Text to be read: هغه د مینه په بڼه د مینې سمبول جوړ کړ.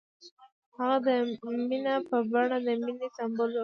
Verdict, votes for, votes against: accepted, 2, 0